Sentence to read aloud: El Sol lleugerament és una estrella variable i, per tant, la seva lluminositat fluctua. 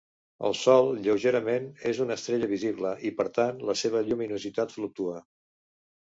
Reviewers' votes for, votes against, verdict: 0, 2, rejected